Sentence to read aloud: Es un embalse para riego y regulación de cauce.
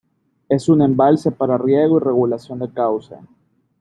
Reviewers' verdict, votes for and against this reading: rejected, 1, 2